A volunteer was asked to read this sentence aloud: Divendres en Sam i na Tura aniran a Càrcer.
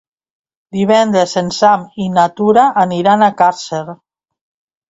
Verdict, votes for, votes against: accepted, 2, 0